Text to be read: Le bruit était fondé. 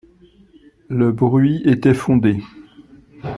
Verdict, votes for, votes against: accepted, 2, 0